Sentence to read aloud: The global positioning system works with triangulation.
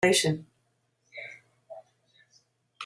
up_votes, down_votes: 0, 3